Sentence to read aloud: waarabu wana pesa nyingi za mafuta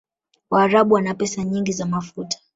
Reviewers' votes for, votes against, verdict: 1, 2, rejected